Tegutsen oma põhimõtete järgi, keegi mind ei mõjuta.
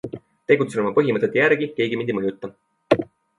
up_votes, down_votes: 2, 0